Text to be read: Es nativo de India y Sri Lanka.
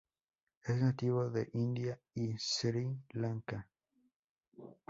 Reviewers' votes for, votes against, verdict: 0, 2, rejected